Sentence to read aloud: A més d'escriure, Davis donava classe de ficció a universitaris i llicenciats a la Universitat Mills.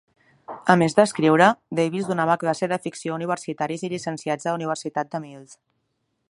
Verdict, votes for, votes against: rejected, 0, 2